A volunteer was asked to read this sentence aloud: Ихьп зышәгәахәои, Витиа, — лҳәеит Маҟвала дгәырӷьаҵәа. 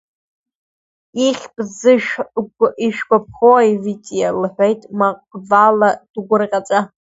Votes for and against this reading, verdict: 1, 2, rejected